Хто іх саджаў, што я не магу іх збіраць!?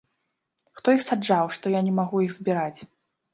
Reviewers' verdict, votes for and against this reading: accepted, 2, 0